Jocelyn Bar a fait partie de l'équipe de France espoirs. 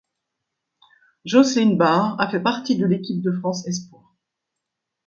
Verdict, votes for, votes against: rejected, 1, 2